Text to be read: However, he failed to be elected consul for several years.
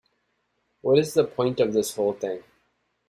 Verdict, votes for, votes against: rejected, 0, 2